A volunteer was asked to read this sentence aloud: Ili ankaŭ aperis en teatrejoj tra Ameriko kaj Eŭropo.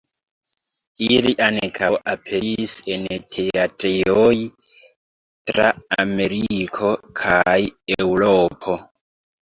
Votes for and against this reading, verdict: 1, 2, rejected